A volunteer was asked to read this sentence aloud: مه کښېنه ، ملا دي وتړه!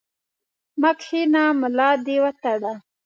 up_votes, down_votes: 2, 0